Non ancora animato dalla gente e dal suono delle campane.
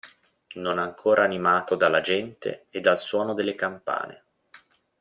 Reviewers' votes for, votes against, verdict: 2, 0, accepted